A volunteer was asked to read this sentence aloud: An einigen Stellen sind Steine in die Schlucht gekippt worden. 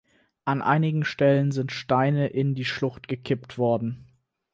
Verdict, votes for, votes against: accepted, 4, 0